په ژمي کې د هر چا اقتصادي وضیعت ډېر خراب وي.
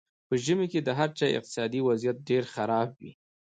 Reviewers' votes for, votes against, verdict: 2, 1, accepted